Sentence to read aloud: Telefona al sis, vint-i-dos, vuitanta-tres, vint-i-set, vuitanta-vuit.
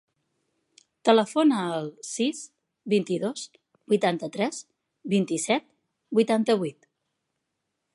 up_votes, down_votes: 4, 0